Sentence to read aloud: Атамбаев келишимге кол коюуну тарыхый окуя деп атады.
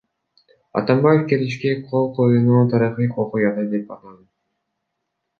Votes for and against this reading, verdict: 0, 2, rejected